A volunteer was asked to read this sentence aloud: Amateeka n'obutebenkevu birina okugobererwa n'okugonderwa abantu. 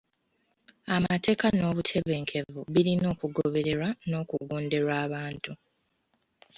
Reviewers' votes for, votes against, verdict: 3, 0, accepted